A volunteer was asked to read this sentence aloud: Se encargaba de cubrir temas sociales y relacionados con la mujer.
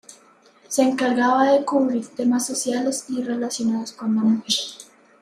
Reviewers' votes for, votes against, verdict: 2, 0, accepted